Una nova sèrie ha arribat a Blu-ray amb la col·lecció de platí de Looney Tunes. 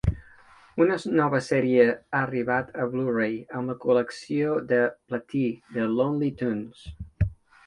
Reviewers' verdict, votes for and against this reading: rejected, 1, 2